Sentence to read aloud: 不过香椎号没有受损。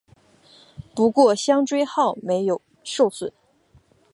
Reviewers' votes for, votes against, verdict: 4, 0, accepted